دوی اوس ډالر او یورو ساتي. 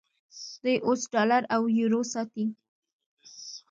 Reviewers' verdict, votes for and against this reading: rejected, 0, 2